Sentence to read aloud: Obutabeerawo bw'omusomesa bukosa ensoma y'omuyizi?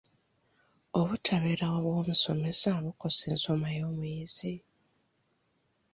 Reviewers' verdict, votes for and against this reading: accepted, 2, 1